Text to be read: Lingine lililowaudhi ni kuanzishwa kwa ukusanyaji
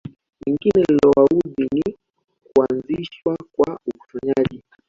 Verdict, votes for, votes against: rejected, 0, 2